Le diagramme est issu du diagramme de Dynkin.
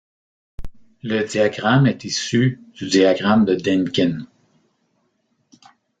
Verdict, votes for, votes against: rejected, 1, 2